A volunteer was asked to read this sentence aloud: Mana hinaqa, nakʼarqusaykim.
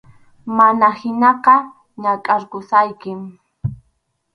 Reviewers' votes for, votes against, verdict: 4, 0, accepted